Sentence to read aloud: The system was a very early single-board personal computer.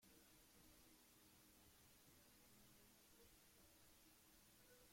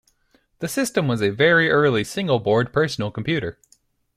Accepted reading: second